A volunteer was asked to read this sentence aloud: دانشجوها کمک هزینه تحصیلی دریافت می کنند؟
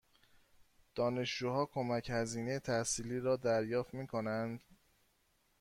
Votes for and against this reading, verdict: 1, 2, rejected